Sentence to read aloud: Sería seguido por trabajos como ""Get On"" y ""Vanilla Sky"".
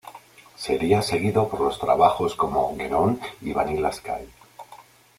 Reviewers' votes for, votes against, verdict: 1, 2, rejected